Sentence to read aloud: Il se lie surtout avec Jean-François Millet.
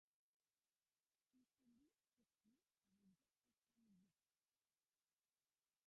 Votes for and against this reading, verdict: 0, 2, rejected